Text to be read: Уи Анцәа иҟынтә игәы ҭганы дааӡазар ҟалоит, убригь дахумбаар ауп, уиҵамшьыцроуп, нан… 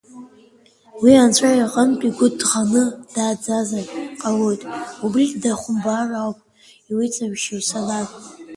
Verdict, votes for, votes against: accepted, 2, 1